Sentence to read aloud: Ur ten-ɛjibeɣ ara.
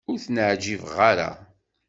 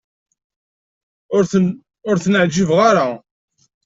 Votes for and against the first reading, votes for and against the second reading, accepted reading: 2, 0, 0, 2, first